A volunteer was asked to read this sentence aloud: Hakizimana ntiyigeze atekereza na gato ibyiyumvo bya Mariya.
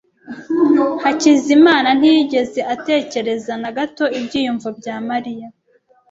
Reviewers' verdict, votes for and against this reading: accepted, 2, 0